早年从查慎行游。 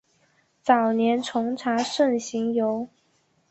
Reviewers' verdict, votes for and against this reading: accepted, 2, 0